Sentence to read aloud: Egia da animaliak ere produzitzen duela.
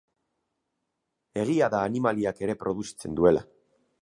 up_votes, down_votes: 0, 2